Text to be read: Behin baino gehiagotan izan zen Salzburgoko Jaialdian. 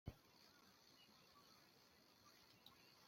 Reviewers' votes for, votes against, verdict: 0, 2, rejected